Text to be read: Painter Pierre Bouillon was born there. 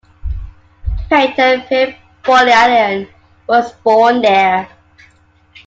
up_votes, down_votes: 0, 2